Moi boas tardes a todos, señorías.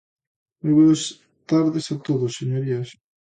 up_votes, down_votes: 0, 2